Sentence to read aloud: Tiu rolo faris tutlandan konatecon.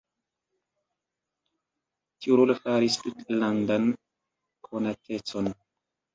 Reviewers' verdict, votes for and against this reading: rejected, 1, 3